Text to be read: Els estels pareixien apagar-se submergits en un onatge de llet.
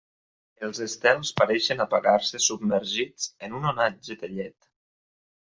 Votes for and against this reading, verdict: 0, 2, rejected